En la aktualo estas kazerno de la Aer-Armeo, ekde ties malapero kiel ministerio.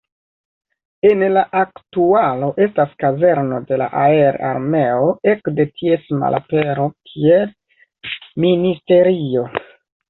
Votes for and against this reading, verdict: 2, 0, accepted